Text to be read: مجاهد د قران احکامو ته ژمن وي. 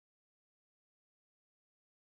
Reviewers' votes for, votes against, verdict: 0, 2, rejected